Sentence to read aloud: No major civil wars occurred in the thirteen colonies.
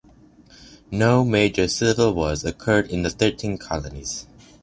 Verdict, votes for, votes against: accepted, 2, 0